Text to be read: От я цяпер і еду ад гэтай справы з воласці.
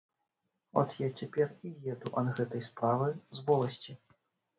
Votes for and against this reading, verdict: 1, 3, rejected